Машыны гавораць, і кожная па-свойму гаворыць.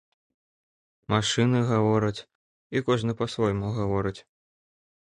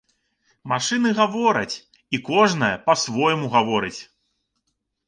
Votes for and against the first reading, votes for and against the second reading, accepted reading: 1, 2, 3, 0, second